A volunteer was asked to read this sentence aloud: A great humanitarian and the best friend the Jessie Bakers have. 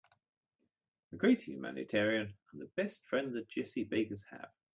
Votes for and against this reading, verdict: 3, 0, accepted